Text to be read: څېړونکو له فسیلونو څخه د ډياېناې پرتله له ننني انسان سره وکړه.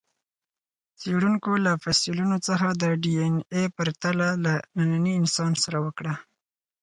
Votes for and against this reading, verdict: 4, 2, accepted